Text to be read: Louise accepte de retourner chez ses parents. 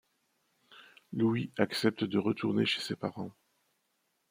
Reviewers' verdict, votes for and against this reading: rejected, 1, 2